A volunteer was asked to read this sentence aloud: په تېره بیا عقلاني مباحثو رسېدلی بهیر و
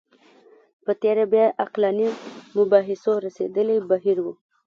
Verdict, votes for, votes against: rejected, 0, 2